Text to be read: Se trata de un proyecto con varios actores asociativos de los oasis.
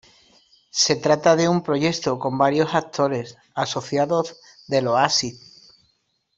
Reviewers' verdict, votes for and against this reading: rejected, 0, 2